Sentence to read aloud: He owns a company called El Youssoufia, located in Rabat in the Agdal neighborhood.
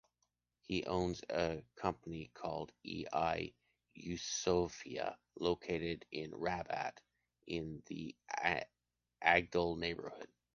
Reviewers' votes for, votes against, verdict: 1, 2, rejected